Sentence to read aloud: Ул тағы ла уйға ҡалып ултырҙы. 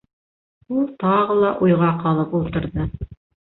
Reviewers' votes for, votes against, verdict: 1, 2, rejected